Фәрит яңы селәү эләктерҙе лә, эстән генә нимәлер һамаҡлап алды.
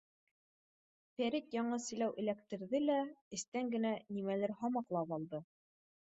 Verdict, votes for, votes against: accepted, 2, 0